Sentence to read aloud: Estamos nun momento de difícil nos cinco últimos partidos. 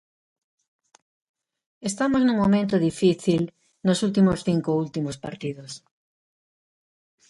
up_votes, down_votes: 0, 2